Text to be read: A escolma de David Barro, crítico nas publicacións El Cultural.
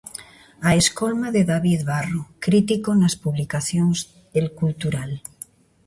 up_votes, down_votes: 2, 0